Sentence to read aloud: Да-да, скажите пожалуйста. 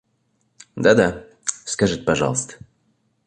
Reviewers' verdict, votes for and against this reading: accepted, 2, 0